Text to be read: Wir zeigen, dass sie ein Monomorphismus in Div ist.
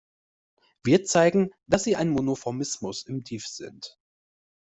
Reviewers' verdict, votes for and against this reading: rejected, 1, 2